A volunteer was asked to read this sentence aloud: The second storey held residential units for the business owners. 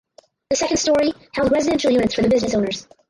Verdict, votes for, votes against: rejected, 0, 2